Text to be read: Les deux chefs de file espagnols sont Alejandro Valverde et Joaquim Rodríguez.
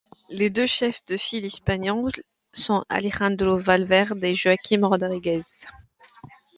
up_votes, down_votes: 2, 1